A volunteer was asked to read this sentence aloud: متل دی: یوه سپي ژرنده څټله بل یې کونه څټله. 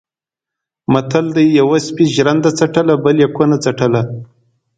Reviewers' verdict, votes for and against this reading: accepted, 2, 0